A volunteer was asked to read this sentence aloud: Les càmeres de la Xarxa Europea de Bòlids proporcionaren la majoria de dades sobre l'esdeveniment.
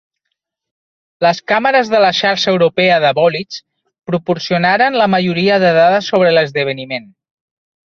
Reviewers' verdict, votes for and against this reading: accepted, 2, 0